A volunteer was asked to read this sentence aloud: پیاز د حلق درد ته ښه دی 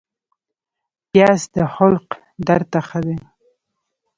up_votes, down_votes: 1, 2